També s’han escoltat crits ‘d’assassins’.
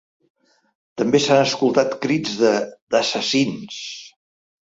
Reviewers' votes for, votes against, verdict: 1, 2, rejected